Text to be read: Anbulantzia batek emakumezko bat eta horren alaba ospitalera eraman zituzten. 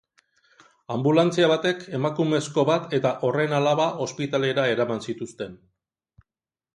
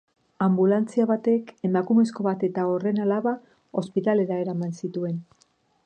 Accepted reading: first